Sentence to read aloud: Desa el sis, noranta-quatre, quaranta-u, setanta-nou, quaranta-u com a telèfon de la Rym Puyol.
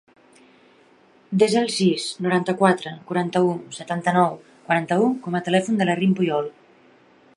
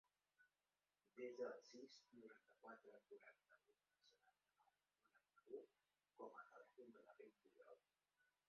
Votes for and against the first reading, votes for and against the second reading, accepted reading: 3, 0, 0, 2, first